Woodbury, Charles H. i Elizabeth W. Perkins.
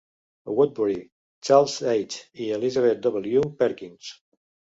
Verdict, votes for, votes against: rejected, 1, 2